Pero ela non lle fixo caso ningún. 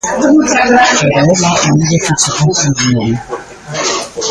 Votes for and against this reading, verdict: 0, 3, rejected